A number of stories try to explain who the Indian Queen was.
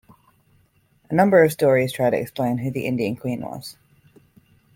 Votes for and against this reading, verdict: 2, 0, accepted